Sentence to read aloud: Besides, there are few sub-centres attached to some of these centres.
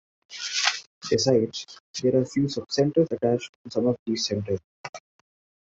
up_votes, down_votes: 2, 1